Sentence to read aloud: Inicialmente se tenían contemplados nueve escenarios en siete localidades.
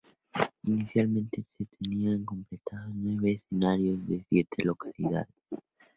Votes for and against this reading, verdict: 2, 2, rejected